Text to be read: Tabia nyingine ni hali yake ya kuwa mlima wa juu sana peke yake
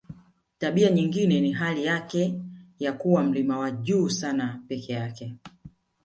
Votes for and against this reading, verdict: 1, 3, rejected